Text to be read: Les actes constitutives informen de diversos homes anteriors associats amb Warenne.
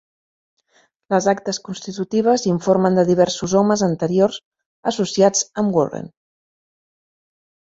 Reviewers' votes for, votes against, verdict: 0, 2, rejected